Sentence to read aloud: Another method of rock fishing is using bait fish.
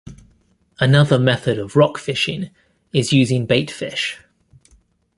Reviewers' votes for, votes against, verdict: 2, 0, accepted